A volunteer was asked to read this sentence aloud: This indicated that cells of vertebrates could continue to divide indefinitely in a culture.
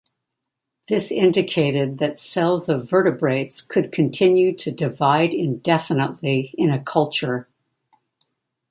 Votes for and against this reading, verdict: 2, 0, accepted